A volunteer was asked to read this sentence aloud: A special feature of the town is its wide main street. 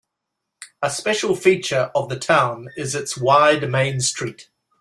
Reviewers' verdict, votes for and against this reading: accepted, 2, 0